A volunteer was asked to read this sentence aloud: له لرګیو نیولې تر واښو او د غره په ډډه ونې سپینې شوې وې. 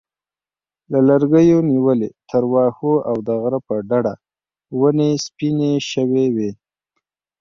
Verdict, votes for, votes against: accepted, 2, 0